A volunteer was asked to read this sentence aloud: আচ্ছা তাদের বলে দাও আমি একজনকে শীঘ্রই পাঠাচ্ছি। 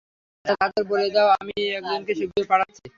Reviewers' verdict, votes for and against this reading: rejected, 0, 3